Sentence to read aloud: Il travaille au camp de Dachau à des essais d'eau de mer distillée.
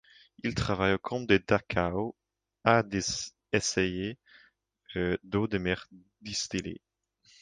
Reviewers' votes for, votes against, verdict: 1, 2, rejected